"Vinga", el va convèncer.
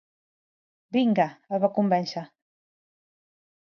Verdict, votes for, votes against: accepted, 2, 0